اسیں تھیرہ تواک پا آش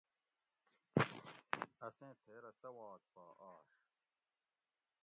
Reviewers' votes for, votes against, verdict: 1, 2, rejected